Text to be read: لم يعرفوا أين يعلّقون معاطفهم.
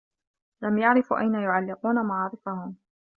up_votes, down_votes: 2, 0